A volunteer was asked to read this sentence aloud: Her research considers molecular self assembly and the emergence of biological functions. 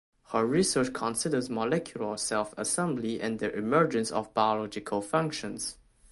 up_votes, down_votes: 2, 0